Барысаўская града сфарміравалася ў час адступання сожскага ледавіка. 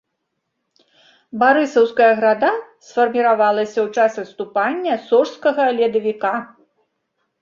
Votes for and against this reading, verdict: 2, 0, accepted